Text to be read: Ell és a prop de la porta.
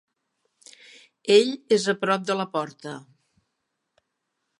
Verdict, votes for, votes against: accepted, 3, 0